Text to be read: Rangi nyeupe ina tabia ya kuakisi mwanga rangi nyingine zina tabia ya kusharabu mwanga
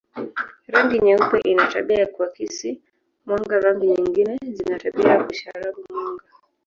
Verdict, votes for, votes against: rejected, 0, 2